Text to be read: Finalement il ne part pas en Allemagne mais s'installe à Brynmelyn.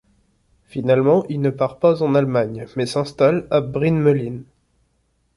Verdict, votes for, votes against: accepted, 2, 0